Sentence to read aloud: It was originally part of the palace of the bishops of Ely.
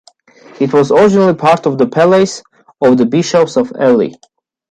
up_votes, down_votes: 2, 0